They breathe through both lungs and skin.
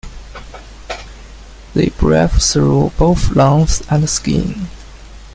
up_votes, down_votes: 1, 2